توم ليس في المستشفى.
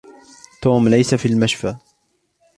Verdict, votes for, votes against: rejected, 0, 3